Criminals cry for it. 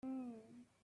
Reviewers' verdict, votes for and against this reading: rejected, 0, 2